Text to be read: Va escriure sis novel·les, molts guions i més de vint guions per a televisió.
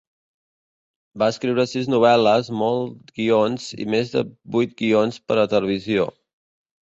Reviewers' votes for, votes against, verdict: 1, 2, rejected